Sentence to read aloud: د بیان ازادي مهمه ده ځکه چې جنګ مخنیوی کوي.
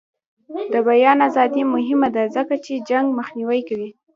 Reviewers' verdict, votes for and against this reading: rejected, 0, 2